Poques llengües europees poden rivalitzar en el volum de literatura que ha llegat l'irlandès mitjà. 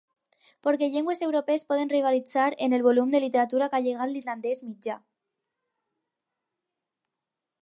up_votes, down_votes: 4, 0